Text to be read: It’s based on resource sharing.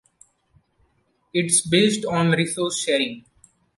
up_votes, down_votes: 2, 0